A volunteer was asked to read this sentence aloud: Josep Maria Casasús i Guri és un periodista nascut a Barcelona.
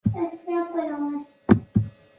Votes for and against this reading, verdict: 0, 2, rejected